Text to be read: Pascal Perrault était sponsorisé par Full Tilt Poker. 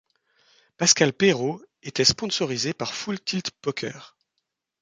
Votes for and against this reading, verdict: 2, 0, accepted